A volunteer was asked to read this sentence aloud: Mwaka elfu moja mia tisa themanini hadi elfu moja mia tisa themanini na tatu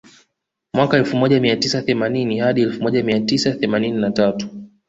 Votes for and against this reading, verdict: 2, 0, accepted